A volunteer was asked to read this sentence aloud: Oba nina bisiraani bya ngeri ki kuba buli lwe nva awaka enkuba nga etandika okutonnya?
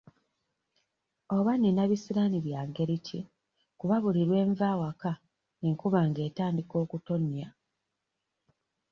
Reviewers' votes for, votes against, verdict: 1, 2, rejected